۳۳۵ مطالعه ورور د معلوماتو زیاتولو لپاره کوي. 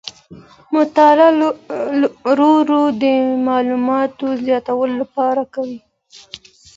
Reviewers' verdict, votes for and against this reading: rejected, 0, 2